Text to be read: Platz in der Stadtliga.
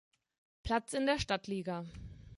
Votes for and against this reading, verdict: 2, 0, accepted